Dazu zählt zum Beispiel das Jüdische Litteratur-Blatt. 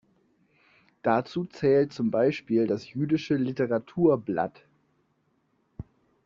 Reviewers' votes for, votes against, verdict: 2, 0, accepted